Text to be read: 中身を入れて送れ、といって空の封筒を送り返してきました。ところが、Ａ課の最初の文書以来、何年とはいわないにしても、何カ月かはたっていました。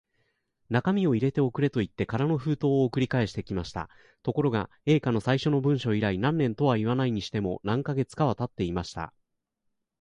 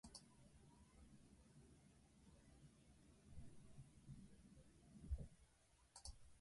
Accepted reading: first